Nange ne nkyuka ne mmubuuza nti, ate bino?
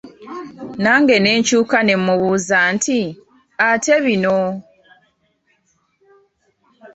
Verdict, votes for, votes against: accepted, 3, 0